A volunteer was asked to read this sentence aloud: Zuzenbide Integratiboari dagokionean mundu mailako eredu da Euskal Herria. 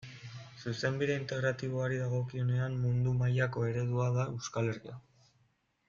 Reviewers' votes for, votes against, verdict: 2, 0, accepted